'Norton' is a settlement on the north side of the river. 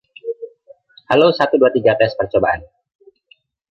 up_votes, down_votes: 0, 2